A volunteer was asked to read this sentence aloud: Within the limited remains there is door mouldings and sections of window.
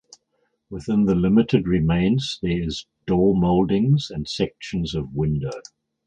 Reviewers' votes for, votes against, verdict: 4, 0, accepted